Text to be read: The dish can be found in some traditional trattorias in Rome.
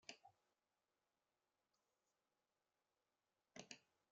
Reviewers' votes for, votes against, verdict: 0, 2, rejected